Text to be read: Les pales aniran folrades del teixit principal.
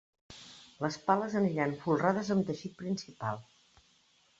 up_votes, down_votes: 1, 2